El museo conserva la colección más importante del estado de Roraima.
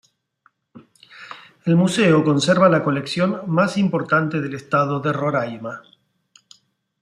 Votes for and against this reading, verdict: 2, 0, accepted